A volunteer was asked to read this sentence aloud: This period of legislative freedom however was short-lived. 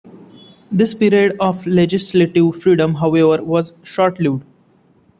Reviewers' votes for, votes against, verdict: 1, 2, rejected